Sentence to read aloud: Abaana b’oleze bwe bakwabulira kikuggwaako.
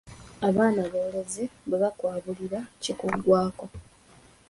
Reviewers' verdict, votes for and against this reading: accepted, 2, 0